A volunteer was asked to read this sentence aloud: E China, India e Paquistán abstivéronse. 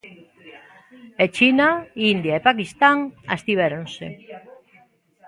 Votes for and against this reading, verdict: 2, 0, accepted